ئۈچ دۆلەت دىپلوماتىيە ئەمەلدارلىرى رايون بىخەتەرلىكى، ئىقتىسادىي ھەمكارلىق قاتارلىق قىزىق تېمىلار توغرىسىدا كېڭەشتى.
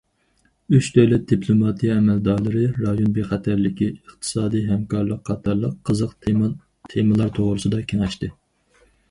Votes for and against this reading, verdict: 0, 2, rejected